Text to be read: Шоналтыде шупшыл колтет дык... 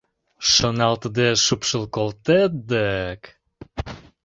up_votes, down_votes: 2, 0